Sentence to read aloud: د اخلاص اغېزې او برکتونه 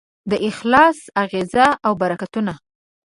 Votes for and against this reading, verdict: 1, 2, rejected